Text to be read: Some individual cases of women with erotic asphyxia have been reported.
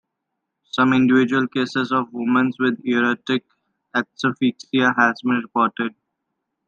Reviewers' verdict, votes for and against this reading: rejected, 0, 2